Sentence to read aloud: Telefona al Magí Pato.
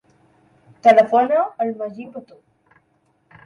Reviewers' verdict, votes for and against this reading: rejected, 1, 2